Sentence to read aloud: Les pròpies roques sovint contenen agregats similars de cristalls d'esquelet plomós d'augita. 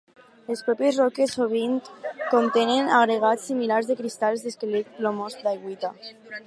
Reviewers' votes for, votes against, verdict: 2, 2, rejected